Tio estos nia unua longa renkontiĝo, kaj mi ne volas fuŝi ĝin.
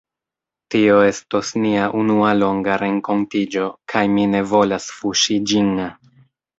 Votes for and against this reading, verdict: 1, 2, rejected